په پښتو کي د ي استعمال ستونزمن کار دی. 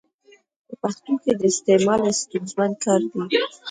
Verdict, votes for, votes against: accepted, 2, 1